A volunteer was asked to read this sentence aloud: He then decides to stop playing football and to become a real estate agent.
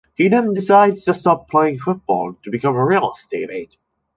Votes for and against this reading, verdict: 1, 2, rejected